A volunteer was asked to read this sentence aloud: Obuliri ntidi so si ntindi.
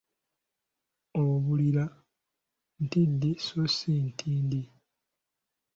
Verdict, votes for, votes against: rejected, 2, 3